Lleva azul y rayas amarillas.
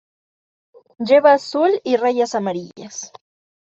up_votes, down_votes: 2, 0